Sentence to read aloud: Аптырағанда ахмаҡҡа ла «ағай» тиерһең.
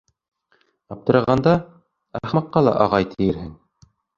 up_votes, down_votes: 0, 2